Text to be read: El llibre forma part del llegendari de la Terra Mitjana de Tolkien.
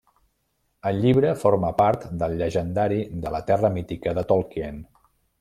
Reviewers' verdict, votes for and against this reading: rejected, 0, 2